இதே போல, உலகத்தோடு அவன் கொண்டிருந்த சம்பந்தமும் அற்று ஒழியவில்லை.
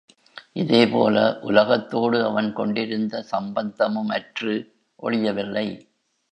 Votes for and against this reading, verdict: 1, 2, rejected